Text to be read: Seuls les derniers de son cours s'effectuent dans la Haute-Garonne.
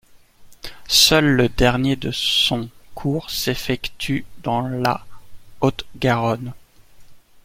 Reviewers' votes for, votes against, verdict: 1, 2, rejected